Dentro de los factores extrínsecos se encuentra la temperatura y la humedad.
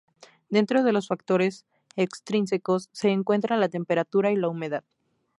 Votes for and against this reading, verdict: 2, 0, accepted